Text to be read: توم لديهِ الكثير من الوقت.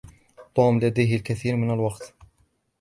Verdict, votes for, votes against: accepted, 2, 0